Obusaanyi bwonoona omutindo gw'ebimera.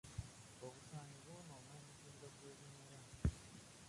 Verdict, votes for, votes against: rejected, 0, 2